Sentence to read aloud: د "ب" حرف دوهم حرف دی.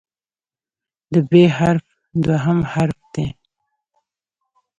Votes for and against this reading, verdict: 2, 0, accepted